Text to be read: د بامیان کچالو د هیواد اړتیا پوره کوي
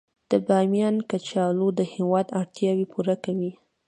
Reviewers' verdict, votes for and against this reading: accepted, 2, 0